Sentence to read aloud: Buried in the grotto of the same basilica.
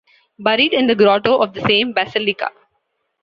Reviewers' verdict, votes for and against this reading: accepted, 2, 0